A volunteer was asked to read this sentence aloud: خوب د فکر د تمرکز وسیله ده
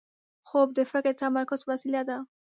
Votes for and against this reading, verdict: 2, 0, accepted